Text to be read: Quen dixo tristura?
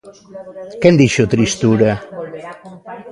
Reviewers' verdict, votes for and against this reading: rejected, 0, 2